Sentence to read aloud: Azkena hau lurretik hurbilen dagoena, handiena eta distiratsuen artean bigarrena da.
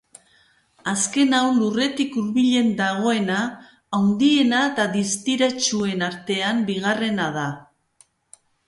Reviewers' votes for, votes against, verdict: 3, 0, accepted